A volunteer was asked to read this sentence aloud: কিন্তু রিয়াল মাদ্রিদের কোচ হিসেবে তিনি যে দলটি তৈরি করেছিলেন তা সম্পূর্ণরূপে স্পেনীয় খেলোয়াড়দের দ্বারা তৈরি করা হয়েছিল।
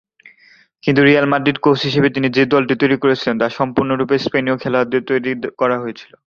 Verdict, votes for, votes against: rejected, 0, 2